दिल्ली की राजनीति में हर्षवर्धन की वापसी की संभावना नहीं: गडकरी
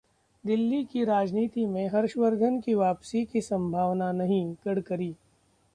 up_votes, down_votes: 2, 0